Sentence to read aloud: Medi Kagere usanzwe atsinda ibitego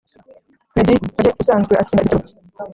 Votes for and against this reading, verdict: 1, 2, rejected